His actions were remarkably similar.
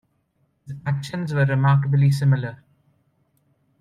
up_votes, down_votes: 0, 2